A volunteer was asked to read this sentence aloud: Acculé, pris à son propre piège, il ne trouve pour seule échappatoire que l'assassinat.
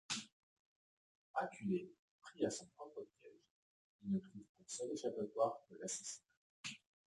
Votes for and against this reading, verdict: 0, 2, rejected